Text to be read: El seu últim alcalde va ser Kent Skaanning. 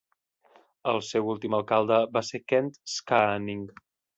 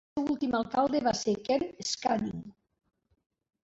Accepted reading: first